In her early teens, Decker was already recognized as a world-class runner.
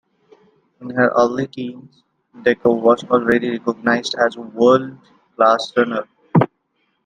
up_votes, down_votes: 1, 2